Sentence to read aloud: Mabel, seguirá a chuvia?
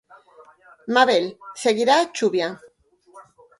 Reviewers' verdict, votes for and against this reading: rejected, 0, 4